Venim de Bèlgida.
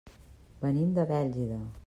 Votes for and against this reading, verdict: 3, 0, accepted